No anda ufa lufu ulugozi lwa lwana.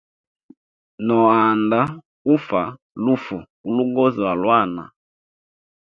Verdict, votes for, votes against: accepted, 2, 0